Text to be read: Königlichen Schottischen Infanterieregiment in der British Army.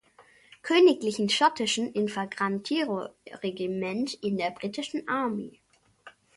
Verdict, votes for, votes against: rejected, 0, 2